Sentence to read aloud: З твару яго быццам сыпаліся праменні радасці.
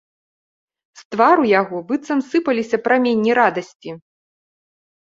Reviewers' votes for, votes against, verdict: 3, 0, accepted